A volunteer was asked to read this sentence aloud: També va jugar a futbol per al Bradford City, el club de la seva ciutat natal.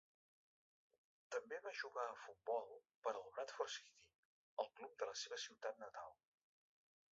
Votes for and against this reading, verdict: 4, 1, accepted